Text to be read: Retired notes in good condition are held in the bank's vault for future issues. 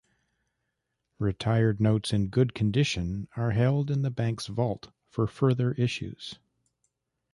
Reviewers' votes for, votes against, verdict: 1, 2, rejected